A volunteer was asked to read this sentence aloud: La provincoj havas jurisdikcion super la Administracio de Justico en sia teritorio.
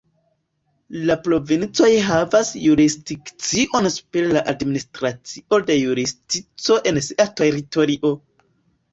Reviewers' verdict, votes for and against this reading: rejected, 0, 2